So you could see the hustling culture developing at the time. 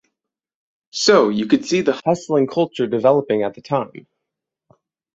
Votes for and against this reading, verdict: 6, 0, accepted